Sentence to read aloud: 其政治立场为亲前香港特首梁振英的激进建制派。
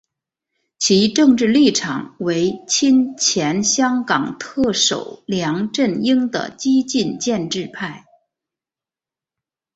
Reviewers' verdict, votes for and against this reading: accepted, 3, 0